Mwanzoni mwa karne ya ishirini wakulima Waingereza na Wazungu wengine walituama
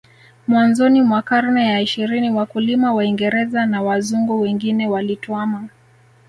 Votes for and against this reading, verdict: 3, 2, accepted